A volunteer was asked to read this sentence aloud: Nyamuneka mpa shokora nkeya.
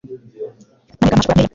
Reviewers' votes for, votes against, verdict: 1, 2, rejected